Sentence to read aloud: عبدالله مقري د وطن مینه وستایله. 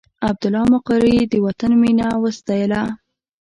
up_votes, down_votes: 2, 0